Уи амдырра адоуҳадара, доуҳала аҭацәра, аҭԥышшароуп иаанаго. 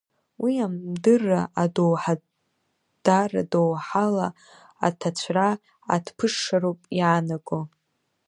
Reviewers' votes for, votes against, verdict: 1, 2, rejected